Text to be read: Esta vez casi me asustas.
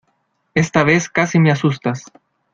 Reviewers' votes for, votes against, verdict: 2, 0, accepted